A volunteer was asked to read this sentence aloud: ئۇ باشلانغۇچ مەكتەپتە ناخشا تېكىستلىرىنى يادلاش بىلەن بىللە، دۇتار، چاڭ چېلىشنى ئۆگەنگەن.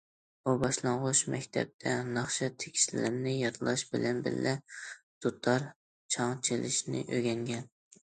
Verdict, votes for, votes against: accepted, 2, 0